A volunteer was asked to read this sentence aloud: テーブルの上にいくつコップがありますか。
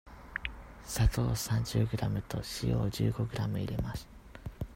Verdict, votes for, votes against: rejected, 0, 2